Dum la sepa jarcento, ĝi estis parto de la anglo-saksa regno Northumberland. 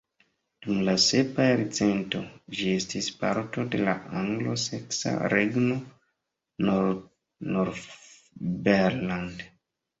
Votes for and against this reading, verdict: 0, 2, rejected